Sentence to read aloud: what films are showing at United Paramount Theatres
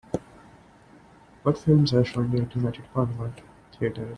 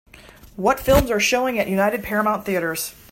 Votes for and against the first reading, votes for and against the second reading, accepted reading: 0, 3, 2, 0, second